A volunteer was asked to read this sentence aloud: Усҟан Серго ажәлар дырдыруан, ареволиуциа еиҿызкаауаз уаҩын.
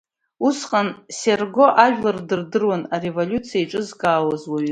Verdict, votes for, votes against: rejected, 1, 2